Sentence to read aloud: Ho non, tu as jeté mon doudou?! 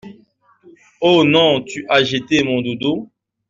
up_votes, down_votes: 2, 0